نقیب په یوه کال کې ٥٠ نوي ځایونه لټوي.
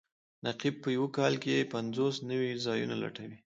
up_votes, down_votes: 0, 2